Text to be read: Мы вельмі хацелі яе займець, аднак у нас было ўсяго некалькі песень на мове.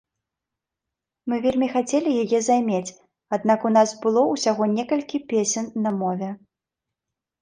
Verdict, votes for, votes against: accepted, 2, 0